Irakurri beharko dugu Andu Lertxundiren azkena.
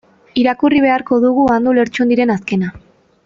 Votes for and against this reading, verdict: 2, 0, accepted